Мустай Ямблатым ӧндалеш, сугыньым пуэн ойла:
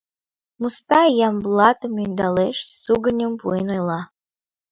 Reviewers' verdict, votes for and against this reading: accepted, 2, 0